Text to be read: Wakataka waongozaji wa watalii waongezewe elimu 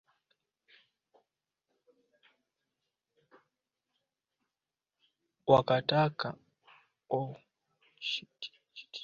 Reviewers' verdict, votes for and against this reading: rejected, 0, 2